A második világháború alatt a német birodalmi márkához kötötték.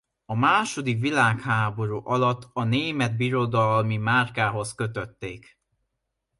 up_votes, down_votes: 2, 0